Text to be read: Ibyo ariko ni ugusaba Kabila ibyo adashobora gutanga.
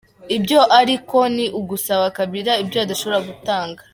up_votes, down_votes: 2, 0